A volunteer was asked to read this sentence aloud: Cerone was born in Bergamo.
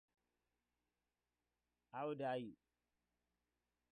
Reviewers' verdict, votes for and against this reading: rejected, 0, 2